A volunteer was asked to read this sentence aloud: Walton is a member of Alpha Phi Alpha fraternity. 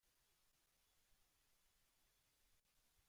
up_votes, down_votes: 0, 2